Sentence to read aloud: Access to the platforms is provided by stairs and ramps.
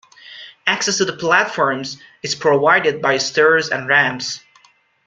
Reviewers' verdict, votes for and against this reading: accepted, 2, 0